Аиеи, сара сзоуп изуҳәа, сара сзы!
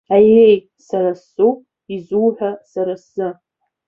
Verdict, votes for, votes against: accepted, 2, 1